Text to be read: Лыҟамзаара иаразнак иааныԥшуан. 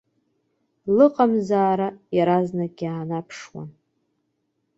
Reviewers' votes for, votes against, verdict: 1, 2, rejected